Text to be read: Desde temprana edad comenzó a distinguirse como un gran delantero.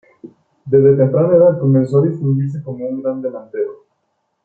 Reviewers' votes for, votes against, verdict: 0, 2, rejected